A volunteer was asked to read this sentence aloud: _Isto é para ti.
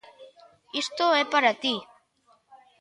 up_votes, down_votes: 2, 0